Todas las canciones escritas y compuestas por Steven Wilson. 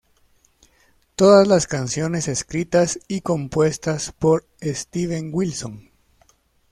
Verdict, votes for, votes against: accepted, 2, 0